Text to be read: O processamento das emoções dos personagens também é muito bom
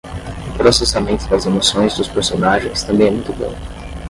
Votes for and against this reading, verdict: 0, 5, rejected